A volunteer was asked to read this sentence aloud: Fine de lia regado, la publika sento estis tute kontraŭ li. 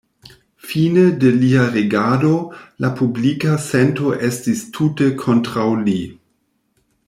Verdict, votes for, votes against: accepted, 2, 1